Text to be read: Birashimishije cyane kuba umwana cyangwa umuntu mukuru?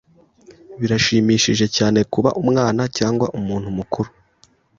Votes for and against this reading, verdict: 2, 0, accepted